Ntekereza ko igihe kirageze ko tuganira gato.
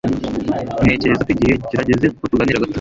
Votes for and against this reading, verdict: 1, 2, rejected